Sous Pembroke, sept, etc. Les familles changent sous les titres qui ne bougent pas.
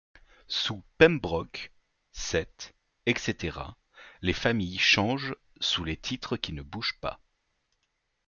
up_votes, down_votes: 2, 0